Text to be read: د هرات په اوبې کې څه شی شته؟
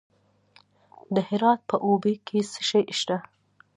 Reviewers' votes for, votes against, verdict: 2, 0, accepted